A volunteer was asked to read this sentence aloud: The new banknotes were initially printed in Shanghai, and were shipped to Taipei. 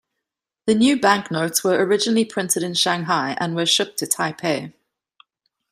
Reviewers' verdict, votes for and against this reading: rejected, 1, 2